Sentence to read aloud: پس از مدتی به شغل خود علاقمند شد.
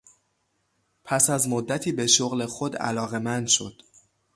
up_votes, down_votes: 3, 0